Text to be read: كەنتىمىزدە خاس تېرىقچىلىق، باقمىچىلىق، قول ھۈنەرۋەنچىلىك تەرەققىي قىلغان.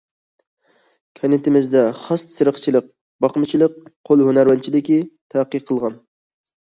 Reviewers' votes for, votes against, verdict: 0, 2, rejected